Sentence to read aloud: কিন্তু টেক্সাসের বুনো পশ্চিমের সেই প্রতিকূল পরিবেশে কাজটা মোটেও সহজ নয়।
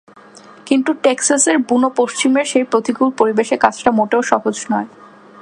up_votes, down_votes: 2, 0